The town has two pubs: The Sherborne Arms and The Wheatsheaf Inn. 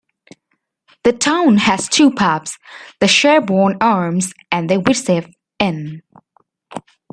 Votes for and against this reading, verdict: 0, 2, rejected